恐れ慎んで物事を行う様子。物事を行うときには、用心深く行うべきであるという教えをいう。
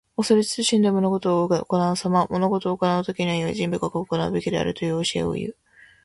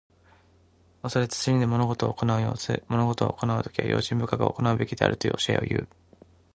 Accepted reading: second